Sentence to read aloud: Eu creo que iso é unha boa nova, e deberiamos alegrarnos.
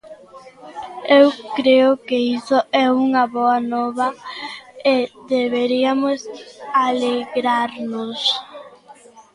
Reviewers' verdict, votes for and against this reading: rejected, 0, 2